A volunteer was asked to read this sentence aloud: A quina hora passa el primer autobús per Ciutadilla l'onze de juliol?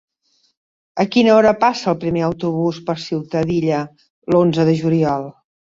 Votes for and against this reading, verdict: 3, 0, accepted